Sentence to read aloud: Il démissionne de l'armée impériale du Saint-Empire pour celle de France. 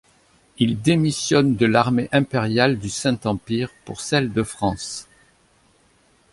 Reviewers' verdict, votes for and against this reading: accepted, 2, 0